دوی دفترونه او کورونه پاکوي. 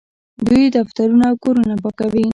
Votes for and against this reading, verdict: 1, 2, rejected